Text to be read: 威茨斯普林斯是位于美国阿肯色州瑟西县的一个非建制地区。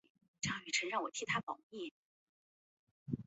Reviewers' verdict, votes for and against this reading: accepted, 2, 0